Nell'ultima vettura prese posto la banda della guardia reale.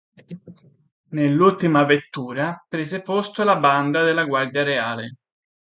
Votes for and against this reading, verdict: 2, 0, accepted